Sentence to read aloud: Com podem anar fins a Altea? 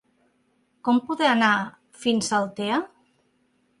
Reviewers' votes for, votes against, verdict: 0, 2, rejected